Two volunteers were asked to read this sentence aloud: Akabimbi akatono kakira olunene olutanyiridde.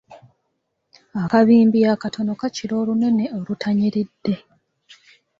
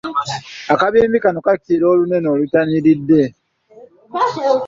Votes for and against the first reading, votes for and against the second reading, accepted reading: 2, 0, 1, 2, first